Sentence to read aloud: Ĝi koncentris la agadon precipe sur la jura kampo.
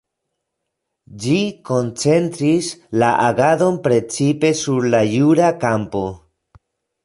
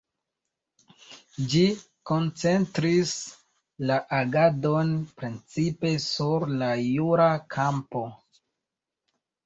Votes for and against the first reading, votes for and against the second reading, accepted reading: 2, 1, 0, 2, first